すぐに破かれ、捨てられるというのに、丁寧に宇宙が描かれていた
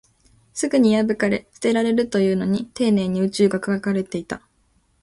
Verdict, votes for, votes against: accepted, 3, 0